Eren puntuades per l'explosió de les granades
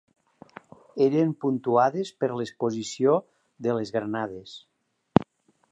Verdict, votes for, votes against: rejected, 1, 2